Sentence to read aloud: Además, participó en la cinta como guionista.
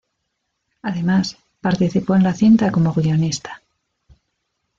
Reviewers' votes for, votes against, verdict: 0, 2, rejected